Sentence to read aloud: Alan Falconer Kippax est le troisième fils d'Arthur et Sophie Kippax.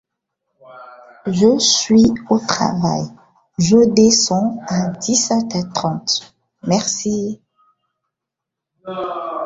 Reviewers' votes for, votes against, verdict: 0, 2, rejected